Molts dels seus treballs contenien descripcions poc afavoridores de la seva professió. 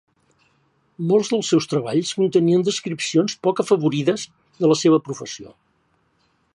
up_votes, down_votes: 1, 2